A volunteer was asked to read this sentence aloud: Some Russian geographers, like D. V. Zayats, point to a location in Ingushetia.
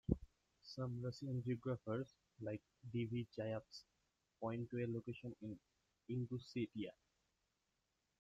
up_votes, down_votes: 1, 2